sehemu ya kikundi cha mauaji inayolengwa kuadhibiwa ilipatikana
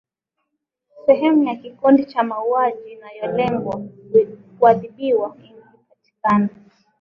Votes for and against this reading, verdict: 3, 0, accepted